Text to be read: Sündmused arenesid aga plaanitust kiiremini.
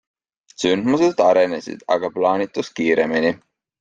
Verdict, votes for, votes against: accepted, 3, 0